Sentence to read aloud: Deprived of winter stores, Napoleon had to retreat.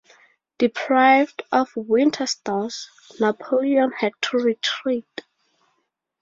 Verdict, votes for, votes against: accepted, 2, 0